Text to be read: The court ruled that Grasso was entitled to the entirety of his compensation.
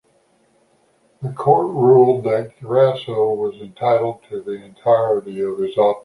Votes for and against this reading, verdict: 1, 2, rejected